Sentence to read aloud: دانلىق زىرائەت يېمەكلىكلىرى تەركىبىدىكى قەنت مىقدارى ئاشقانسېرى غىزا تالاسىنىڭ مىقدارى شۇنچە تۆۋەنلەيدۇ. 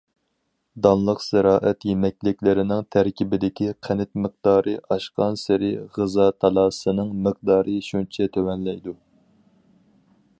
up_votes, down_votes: 0, 4